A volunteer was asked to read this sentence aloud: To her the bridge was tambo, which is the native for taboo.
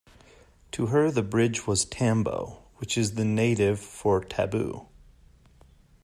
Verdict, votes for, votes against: accepted, 2, 0